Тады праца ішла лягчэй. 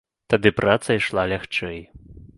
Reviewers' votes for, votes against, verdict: 2, 1, accepted